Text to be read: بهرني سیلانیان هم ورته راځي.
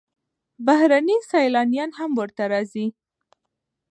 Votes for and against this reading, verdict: 0, 2, rejected